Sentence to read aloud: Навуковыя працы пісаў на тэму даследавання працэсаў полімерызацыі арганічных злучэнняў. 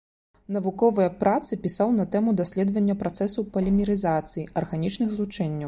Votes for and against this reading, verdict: 2, 0, accepted